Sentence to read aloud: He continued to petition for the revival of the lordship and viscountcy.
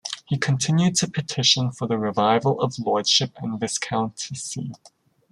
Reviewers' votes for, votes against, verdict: 2, 0, accepted